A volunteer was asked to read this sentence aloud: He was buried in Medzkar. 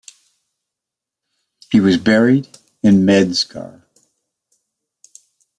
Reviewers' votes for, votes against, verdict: 2, 0, accepted